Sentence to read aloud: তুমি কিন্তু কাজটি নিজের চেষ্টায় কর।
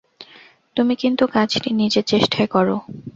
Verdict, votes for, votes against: accepted, 2, 0